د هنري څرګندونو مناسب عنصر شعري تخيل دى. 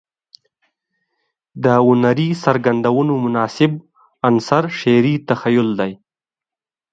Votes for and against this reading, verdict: 2, 0, accepted